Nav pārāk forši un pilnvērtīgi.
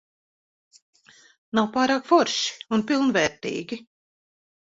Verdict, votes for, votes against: accepted, 2, 0